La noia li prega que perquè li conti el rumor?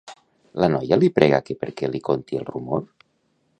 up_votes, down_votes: 1, 2